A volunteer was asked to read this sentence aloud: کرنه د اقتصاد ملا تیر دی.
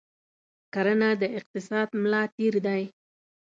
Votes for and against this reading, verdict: 2, 0, accepted